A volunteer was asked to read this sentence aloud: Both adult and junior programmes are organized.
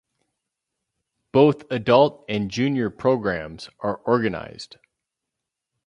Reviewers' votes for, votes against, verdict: 4, 0, accepted